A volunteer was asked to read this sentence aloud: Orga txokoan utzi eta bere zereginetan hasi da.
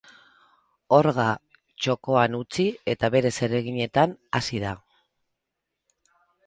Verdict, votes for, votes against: accepted, 4, 2